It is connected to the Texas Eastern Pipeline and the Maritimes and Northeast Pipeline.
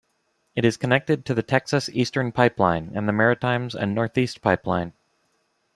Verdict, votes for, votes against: accepted, 2, 0